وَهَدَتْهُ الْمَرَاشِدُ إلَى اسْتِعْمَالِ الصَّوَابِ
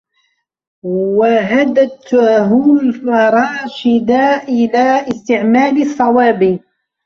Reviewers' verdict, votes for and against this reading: rejected, 0, 2